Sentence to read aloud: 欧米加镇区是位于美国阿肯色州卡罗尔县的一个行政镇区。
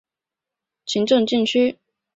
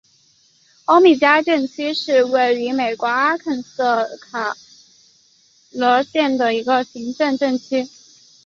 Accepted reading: second